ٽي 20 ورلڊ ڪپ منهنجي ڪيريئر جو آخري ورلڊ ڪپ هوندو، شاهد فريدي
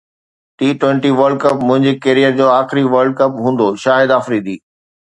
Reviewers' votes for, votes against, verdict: 0, 2, rejected